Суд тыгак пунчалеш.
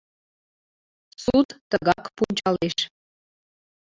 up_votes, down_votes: 0, 2